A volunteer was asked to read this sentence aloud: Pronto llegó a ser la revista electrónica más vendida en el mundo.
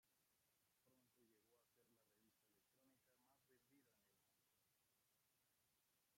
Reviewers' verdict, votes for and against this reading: rejected, 0, 2